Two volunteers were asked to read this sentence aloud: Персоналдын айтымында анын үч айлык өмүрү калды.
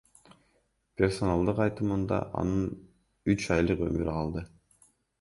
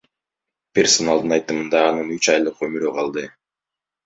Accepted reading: first